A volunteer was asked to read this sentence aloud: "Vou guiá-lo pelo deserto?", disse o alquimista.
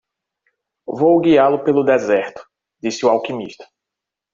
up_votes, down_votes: 0, 2